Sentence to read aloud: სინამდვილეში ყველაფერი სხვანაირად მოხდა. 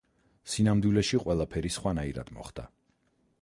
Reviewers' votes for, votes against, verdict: 2, 4, rejected